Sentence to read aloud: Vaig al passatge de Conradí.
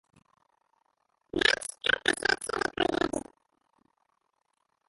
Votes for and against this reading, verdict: 0, 3, rejected